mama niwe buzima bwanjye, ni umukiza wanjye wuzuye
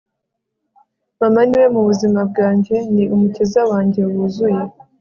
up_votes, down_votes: 2, 0